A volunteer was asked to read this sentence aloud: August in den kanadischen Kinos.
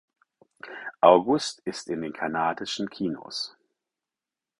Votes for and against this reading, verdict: 0, 4, rejected